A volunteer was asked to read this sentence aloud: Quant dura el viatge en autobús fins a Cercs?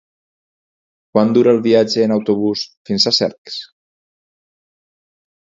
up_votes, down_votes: 4, 0